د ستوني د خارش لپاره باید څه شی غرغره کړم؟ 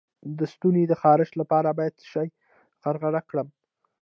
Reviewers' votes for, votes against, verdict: 0, 2, rejected